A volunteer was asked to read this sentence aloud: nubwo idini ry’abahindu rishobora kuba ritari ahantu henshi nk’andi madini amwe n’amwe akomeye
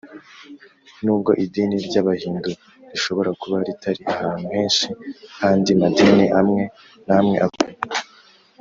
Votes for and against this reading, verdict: 0, 2, rejected